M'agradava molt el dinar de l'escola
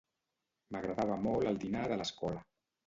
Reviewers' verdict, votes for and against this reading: accepted, 2, 0